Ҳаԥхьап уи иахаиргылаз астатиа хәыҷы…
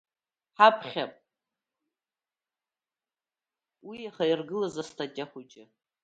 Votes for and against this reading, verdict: 0, 2, rejected